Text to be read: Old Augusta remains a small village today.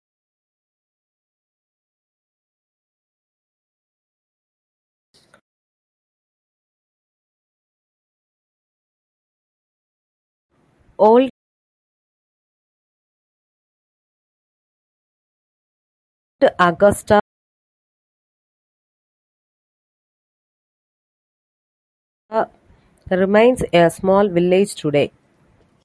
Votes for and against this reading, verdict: 0, 2, rejected